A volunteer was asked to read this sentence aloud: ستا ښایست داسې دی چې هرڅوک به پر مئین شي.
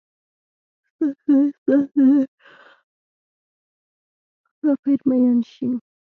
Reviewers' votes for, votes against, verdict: 0, 2, rejected